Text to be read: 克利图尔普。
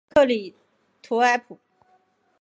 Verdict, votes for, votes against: rejected, 1, 3